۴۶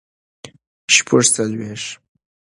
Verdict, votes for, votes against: rejected, 0, 2